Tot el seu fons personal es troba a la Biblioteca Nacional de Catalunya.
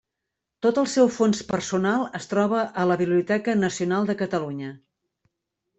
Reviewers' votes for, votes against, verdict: 3, 0, accepted